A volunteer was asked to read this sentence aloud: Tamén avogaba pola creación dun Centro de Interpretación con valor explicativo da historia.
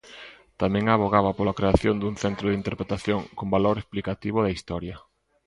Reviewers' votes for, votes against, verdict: 2, 0, accepted